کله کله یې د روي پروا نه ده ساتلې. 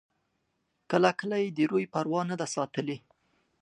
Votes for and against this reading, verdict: 1, 2, rejected